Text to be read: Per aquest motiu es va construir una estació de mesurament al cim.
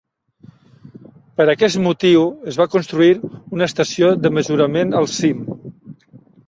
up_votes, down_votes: 3, 0